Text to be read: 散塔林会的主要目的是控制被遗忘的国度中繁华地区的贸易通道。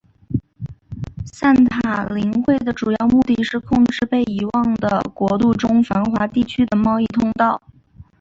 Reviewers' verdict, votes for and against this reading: accepted, 5, 0